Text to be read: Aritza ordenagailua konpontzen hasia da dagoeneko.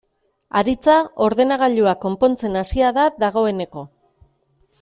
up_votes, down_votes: 2, 0